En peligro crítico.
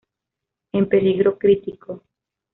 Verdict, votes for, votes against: accepted, 2, 0